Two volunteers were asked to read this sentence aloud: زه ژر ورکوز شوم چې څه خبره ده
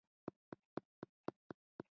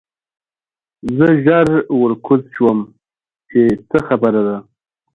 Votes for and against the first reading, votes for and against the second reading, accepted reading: 0, 2, 3, 0, second